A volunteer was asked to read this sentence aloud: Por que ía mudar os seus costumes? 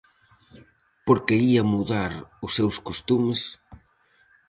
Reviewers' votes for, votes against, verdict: 4, 0, accepted